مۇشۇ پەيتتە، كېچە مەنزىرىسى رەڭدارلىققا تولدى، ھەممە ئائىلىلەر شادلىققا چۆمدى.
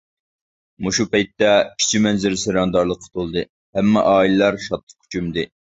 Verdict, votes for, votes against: rejected, 0, 2